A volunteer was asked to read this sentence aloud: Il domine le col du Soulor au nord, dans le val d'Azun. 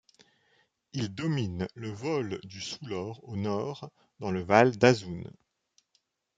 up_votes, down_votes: 1, 2